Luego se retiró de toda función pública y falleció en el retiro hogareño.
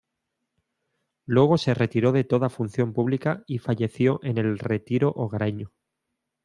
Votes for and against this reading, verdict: 2, 0, accepted